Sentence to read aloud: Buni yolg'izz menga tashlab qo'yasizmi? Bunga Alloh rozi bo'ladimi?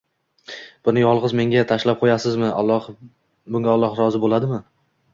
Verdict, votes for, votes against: rejected, 1, 2